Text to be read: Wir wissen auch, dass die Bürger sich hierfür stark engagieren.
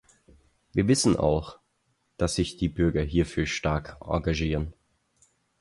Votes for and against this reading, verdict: 2, 4, rejected